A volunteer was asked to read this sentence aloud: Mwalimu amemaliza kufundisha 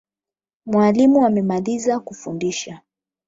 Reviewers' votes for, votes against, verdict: 8, 0, accepted